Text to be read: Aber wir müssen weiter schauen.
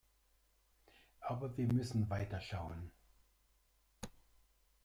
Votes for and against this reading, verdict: 0, 2, rejected